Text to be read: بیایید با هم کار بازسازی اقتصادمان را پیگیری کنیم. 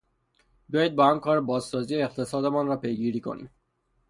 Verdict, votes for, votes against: accepted, 3, 0